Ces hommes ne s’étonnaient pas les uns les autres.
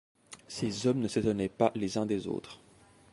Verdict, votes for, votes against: rejected, 1, 2